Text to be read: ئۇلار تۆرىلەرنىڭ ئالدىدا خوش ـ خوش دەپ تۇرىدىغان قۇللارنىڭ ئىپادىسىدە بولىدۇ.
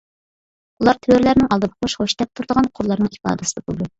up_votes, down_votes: 0, 2